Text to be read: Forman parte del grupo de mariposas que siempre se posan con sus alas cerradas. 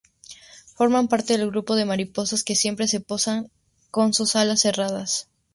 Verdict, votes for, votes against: accepted, 4, 0